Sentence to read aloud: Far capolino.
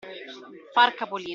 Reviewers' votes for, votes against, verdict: 0, 2, rejected